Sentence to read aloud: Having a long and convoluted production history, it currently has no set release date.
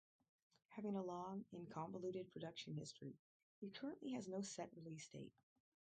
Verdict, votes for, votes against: rejected, 2, 2